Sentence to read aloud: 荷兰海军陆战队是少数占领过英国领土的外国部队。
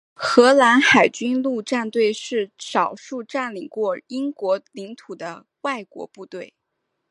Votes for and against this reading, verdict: 3, 0, accepted